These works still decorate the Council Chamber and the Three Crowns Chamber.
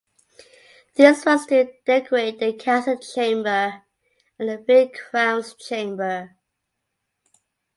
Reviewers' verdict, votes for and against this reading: rejected, 0, 2